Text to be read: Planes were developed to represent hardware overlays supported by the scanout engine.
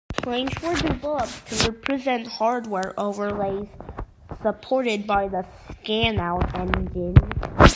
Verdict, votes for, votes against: accepted, 2, 1